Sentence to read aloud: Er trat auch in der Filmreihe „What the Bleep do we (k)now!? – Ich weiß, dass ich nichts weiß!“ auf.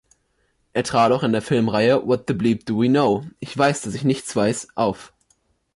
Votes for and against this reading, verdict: 3, 0, accepted